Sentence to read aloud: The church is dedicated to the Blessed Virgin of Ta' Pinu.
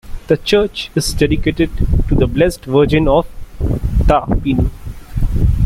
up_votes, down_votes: 1, 2